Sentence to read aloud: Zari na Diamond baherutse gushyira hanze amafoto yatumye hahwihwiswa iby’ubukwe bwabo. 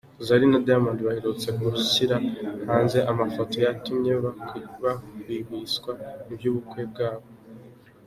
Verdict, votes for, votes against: rejected, 0, 2